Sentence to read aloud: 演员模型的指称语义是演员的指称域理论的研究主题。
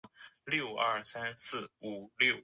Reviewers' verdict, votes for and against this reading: rejected, 0, 2